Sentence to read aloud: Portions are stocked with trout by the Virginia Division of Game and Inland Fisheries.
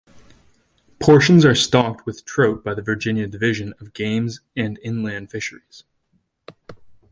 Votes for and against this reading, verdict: 0, 2, rejected